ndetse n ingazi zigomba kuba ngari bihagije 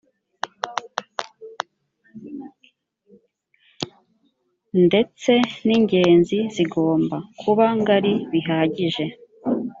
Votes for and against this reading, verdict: 1, 2, rejected